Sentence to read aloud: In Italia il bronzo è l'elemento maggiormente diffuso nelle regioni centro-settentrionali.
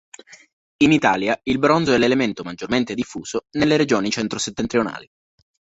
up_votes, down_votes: 2, 0